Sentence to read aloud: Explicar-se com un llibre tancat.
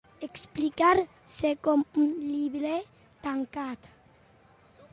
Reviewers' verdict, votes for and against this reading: accepted, 2, 0